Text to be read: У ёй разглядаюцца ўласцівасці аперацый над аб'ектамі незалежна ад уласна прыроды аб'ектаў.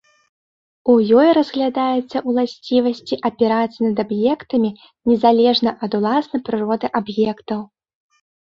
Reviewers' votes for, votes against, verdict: 2, 0, accepted